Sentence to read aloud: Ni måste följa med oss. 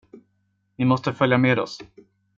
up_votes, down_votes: 2, 0